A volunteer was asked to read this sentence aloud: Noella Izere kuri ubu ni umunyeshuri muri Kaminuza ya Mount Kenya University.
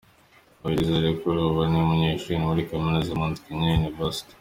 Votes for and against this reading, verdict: 2, 0, accepted